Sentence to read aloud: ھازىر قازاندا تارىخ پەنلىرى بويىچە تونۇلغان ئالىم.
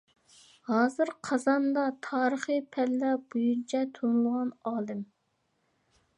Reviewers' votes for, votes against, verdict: 0, 2, rejected